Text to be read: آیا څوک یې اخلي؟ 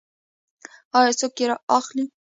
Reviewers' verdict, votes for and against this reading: accepted, 2, 0